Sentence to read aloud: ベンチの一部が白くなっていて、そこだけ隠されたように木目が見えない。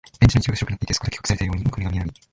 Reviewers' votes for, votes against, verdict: 0, 2, rejected